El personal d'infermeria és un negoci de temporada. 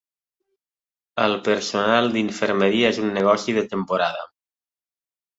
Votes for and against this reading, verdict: 3, 0, accepted